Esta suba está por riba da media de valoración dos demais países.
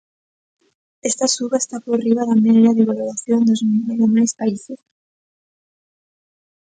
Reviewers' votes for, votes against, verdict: 0, 2, rejected